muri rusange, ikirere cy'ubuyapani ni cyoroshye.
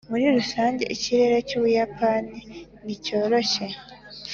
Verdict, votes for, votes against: accepted, 2, 0